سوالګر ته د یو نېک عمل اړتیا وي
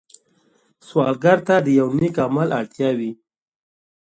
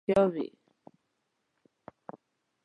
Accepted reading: first